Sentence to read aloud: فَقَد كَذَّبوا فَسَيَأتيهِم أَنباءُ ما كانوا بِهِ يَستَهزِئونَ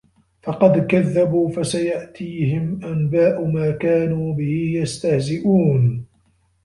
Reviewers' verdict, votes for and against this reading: accepted, 2, 1